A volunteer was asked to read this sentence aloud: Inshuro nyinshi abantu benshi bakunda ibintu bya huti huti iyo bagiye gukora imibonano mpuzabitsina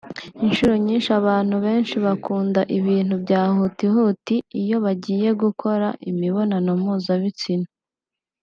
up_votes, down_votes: 2, 1